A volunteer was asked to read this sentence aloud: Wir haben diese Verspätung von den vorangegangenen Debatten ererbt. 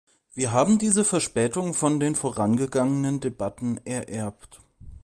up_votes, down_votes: 2, 0